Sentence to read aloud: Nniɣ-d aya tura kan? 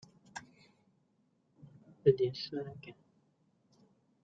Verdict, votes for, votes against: rejected, 0, 2